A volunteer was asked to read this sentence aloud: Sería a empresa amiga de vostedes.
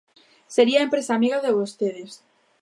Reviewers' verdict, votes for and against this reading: accepted, 2, 0